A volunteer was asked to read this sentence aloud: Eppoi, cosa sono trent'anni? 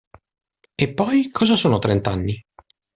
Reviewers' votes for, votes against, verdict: 2, 0, accepted